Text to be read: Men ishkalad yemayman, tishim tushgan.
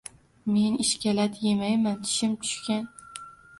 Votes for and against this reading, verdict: 1, 2, rejected